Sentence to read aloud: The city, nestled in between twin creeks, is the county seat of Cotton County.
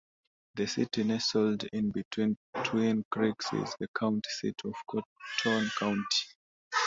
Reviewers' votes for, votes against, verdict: 2, 1, accepted